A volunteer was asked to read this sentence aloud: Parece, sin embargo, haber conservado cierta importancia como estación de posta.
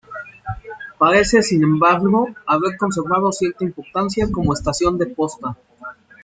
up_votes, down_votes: 1, 2